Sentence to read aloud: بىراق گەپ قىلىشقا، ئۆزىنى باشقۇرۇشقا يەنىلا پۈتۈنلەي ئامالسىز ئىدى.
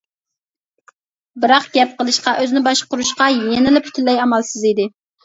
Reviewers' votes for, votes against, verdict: 2, 0, accepted